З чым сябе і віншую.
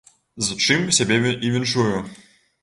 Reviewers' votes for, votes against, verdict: 0, 2, rejected